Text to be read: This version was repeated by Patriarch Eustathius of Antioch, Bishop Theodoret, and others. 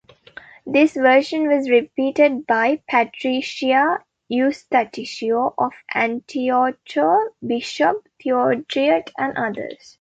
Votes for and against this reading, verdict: 0, 2, rejected